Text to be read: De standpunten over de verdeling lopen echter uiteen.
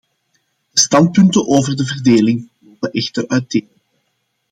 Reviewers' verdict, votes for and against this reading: accepted, 2, 1